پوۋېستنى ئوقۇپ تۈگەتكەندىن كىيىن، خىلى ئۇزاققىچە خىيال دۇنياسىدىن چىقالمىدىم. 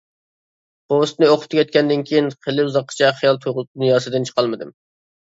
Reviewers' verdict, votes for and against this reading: rejected, 0, 2